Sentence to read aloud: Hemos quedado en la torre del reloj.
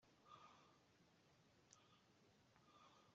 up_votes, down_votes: 0, 2